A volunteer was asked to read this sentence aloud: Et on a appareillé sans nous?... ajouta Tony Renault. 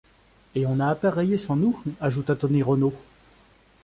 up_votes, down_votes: 2, 0